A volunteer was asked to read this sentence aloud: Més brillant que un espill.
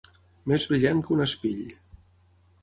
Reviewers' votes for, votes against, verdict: 9, 0, accepted